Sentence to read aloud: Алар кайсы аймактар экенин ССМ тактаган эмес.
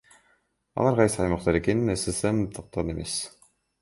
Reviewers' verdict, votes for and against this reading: accepted, 2, 1